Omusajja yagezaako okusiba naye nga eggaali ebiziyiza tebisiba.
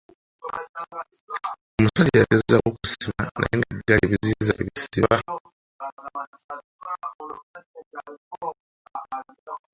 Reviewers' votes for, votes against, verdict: 0, 3, rejected